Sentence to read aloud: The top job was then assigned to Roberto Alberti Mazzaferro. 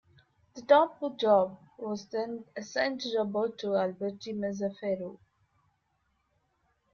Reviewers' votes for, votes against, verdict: 0, 2, rejected